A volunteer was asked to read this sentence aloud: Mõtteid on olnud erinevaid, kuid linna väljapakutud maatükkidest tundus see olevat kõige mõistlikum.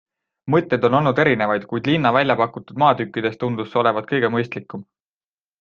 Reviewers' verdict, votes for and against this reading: accepted, 2, 0